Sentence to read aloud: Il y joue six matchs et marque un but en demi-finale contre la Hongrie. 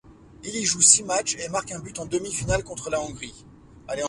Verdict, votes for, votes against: rejected, 0, 2